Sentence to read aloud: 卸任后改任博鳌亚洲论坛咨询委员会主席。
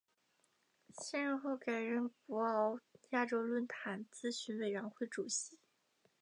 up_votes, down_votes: 4, 0